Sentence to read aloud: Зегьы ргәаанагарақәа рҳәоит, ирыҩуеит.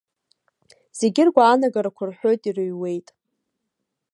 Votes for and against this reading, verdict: 2, 0, accepted